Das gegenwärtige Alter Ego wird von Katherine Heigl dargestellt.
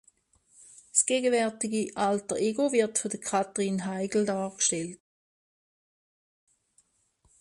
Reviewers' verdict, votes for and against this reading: accepted, 2, 1